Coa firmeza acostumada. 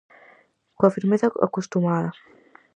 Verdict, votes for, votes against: rejected, 2, 2